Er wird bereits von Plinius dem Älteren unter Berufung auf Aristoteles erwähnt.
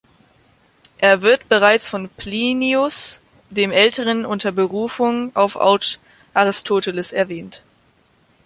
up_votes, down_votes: 1, 2